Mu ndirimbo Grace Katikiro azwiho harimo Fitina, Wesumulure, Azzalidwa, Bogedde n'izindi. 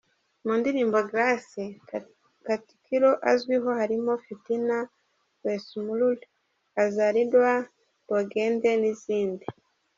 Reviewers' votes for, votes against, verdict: 0, 2, rejected